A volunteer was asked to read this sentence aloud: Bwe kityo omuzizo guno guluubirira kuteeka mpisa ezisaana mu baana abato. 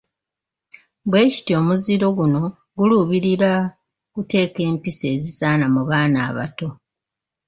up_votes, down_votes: 0, 3